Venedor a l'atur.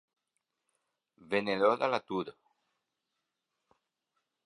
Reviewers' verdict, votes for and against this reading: accepted, 2, 0